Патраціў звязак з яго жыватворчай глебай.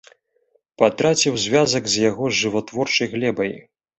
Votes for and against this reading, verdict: 2, 0, accepted